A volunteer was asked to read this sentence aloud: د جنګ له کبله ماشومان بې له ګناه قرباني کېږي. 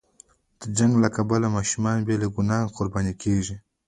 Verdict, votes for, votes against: rejected, 1, 2